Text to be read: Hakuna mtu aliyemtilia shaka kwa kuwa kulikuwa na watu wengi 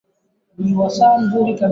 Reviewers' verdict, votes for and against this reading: rejected, 0, 2